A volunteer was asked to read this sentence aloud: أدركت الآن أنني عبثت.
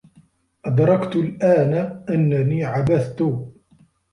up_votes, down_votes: 2, 0